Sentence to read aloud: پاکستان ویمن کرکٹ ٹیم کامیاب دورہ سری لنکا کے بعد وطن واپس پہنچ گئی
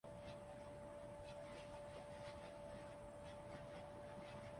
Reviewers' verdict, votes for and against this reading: rejected, 1, 2